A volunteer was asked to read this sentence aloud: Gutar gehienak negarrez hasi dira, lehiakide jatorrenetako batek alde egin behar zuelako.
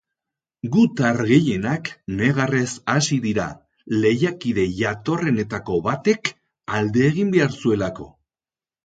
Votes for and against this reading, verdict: 6, 0, accepted